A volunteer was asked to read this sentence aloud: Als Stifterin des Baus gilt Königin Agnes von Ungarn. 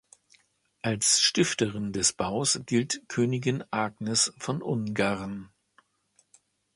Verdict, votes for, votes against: accepted, 3, 0